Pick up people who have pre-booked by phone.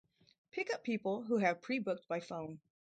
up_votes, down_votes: 4, 0